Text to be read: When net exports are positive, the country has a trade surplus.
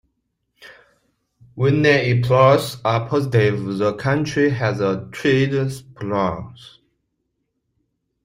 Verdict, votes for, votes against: rejected, 0, 2